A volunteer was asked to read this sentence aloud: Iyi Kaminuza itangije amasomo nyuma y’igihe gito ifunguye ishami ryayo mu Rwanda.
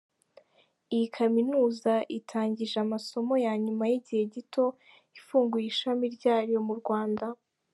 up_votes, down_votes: 0, 2